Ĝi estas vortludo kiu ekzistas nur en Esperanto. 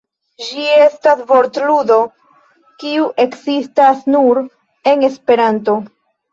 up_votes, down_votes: 1, 2